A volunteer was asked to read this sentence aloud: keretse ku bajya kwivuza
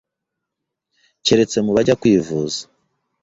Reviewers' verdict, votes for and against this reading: rejected, 0, 2